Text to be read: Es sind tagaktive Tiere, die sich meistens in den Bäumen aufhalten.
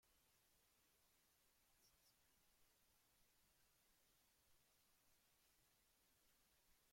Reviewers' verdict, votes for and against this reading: rejected, 0, 2